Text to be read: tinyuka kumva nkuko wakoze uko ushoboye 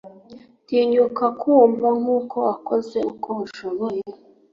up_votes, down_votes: 3, 0